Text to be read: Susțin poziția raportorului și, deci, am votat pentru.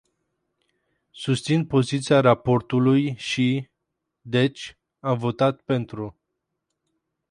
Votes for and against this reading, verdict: 4, 0, accepted